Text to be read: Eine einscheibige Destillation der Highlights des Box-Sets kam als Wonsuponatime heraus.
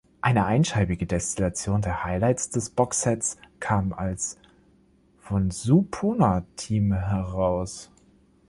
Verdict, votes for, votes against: rejected, 0, 2